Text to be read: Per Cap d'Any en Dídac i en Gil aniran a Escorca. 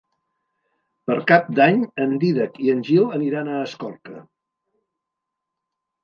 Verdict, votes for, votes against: accepted, 2, 0